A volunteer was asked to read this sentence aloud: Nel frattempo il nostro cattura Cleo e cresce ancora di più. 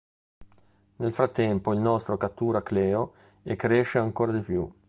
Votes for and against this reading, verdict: 2, 0, accepted